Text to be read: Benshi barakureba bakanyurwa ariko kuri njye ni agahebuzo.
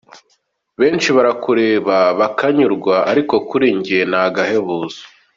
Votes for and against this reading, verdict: 2, 0, accepted